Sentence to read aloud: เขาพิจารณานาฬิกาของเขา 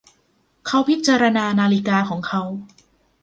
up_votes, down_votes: 2, 1